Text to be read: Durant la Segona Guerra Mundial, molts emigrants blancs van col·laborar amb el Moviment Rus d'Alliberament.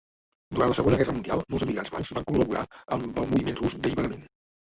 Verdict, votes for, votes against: rejected, 0, 2